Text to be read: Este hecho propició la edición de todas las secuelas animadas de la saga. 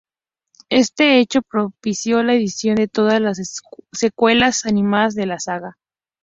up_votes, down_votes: 0, 2